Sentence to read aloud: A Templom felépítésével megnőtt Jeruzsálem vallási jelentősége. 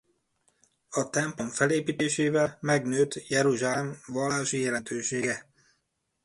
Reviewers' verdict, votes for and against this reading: rejected, 0, 2